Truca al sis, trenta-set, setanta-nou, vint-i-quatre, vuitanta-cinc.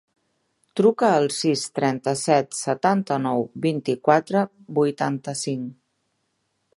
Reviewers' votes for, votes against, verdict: 3, 0, accepted